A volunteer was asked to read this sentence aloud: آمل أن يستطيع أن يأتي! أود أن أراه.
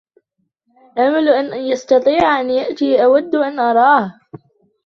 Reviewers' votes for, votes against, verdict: 2, 1, accepted